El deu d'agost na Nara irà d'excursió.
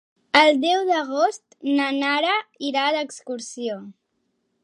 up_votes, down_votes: 3, 1